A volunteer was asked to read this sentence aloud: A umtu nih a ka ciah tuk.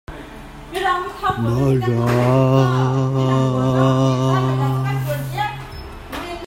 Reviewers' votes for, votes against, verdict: 0, 2, rejected